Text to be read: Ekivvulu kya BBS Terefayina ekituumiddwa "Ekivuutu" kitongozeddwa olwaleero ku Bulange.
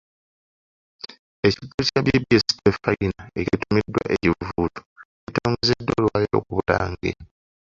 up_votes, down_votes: 1, 2